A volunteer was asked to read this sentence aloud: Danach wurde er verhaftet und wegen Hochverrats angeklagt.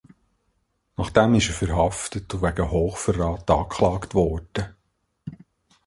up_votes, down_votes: 0, 2